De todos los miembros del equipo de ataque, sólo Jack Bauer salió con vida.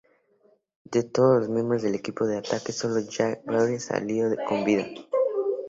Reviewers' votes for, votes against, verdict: 2, 0, accepted